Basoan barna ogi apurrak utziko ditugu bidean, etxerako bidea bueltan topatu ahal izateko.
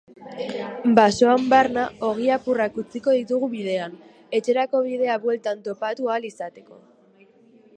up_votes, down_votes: 2, 0